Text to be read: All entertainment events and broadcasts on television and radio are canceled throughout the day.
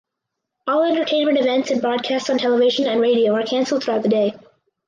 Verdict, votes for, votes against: accepted, 4, 0